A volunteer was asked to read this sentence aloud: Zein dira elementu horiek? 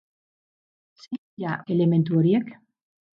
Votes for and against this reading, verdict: 2, 8, rejected